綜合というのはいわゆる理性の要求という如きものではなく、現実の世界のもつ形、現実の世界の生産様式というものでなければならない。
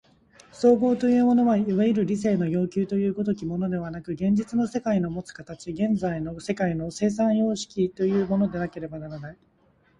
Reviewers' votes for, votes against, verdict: 2, 0, accepted